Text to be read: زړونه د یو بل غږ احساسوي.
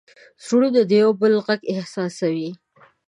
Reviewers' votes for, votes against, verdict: 2, 0, accepted